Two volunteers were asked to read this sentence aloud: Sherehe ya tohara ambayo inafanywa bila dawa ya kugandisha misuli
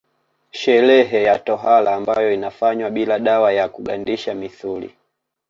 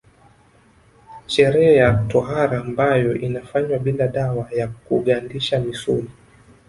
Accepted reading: first